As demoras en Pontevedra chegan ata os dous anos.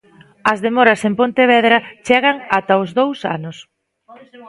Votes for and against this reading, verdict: 2, 0, accepted